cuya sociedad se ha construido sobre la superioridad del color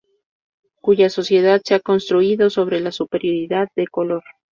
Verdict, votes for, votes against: accepted, 2, 0